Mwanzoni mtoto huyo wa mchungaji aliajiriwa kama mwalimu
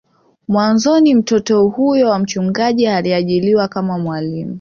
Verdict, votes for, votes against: rejected, 0, 2